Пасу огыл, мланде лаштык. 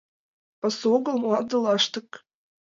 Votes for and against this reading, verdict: 2, 0, accepted